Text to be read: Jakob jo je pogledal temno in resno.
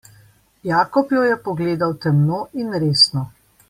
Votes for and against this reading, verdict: 2, 0, accepted